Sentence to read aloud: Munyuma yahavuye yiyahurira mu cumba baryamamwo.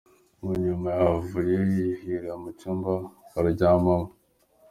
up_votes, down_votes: 0, 2